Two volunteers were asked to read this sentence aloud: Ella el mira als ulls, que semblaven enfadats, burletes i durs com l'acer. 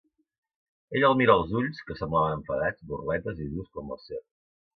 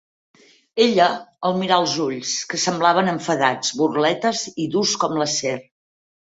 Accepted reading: second